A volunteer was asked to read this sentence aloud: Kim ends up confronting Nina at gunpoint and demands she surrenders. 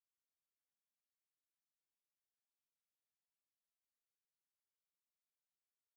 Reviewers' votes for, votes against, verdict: 0, 2, rejected